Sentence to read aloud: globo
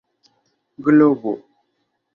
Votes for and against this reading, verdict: 1, 2, rejected